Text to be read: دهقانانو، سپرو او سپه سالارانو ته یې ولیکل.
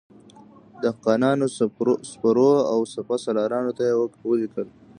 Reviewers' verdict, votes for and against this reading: rejected, 0, 2